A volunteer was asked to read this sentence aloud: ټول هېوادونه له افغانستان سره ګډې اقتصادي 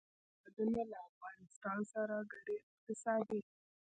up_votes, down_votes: 1, 2